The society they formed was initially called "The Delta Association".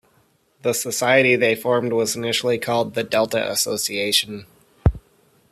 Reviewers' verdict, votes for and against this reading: accepted, 2, 0